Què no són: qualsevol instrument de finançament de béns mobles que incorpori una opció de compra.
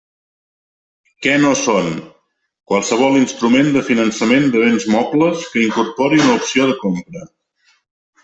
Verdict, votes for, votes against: accepted, 2, 0